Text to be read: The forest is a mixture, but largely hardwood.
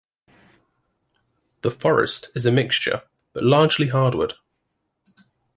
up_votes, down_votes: 2, 0